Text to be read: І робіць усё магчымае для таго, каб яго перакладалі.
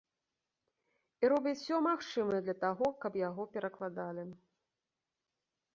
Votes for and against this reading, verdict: 2, 0, accepted